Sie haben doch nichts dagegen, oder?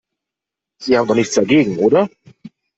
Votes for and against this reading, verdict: 2, 0, accepted